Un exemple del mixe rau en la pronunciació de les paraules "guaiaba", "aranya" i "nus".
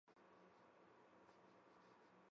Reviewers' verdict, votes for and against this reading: rejected, 1, 2